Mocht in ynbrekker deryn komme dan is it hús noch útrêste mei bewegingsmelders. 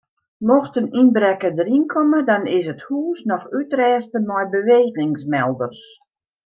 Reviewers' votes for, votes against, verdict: 1, 2, rejected